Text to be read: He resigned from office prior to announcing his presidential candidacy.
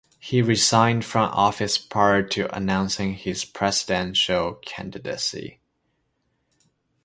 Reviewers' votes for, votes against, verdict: 2, 0, accepted